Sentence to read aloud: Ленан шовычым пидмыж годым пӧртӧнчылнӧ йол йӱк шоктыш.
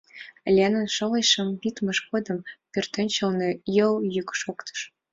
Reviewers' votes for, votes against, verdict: 2, 0, accepted